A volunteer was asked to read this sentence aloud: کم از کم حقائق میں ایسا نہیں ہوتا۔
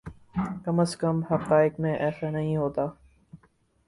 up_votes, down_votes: 6, 0